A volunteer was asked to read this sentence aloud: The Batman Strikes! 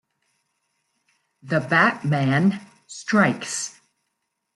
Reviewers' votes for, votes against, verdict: 2, 0, accepted